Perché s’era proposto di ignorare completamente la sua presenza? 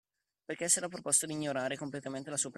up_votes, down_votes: 0, 2